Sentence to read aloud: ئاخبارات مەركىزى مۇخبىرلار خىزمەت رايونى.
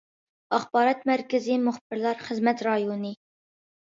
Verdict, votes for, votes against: accepted, 2, 0